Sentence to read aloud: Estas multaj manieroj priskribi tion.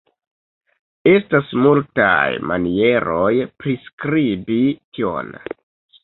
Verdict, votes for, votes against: rejected, 0, 2